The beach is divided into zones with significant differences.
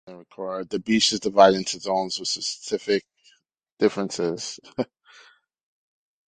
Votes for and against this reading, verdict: 0, 2, rejected